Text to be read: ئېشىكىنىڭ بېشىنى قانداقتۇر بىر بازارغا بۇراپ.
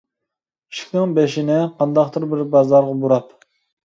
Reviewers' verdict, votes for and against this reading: rejected, 0, 2